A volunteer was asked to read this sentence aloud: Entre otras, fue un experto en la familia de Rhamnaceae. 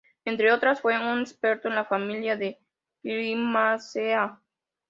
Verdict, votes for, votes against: rejected, 0, 2